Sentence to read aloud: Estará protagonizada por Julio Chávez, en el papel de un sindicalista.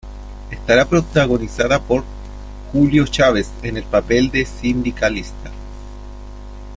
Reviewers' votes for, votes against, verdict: 1, 2, rejected